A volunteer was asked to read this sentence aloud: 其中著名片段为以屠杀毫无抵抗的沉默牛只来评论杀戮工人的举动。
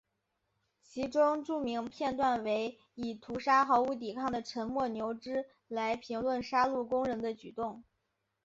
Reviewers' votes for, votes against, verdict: 2, 0, accepted